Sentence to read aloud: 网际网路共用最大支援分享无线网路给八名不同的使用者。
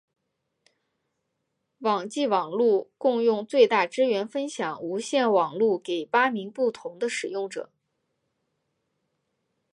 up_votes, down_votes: 3, 2